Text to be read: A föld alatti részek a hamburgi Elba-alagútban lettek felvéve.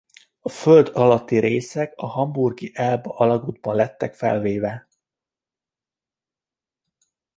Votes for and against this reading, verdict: 2, 1, accepted